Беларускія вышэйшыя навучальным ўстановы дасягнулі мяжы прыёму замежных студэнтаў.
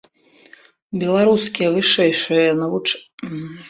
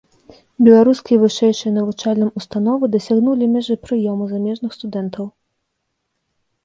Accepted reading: second